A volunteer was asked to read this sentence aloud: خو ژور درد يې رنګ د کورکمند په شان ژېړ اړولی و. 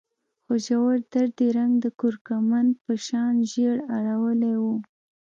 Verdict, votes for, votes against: accepted, 2, 0